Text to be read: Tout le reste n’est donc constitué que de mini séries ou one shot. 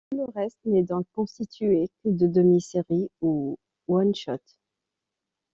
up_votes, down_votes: 1, 2